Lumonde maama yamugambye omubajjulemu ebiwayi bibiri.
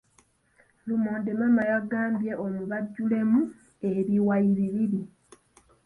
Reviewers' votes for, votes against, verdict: 2, 1, accepted